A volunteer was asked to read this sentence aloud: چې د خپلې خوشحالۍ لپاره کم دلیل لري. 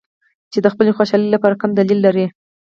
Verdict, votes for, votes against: rejected, 0, 4